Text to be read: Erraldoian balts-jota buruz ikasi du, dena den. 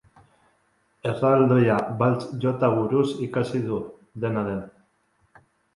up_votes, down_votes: 1, 2